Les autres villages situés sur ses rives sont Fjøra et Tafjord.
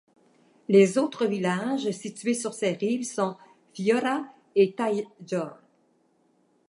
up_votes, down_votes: 2, 1